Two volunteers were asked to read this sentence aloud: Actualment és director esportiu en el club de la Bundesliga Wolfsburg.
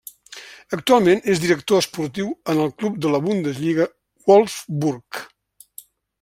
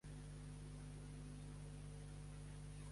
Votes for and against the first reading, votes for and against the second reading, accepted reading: 2, 0, 0, 2, first